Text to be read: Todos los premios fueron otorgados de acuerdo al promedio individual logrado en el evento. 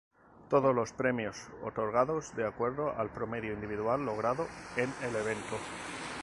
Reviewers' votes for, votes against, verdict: 0, 2, rejected